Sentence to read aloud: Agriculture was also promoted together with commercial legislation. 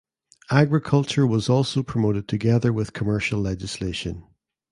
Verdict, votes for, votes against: accepted, 2, 0